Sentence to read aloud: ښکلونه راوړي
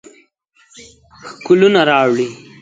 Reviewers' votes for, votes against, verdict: 1, 2, rejected